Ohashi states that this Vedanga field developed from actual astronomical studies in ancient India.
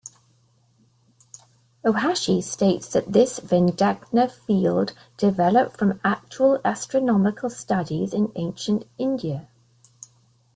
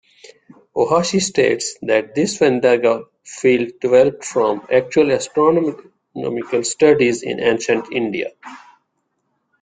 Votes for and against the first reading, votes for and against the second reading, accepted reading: 2, 1, 1, 2, first